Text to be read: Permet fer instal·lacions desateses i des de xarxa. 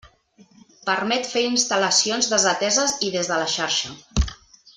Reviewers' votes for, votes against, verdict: 1, 2, rejected